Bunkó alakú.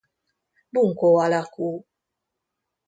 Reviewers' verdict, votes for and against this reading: accepted, 2, 0